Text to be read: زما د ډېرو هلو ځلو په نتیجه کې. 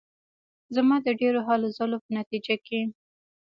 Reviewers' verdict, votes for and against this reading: rejected, 0, 2